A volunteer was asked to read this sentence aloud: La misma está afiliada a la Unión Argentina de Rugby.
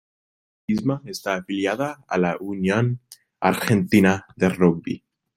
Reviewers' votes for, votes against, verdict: 1, 2, rejected